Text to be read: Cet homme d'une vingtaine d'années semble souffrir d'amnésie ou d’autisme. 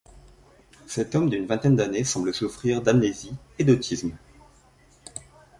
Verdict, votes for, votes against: rejected, 1, 2